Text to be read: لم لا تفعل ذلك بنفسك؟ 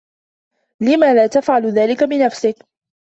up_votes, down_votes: 2, 0